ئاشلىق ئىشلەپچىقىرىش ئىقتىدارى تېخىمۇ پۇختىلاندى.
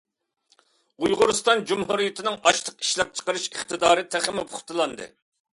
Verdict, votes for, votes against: rejected, 0, 2